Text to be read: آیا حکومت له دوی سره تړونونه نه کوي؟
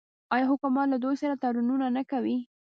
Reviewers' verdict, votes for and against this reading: rejected, 1, 2